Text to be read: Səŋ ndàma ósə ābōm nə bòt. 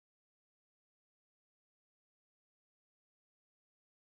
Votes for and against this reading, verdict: 0, 2, rejected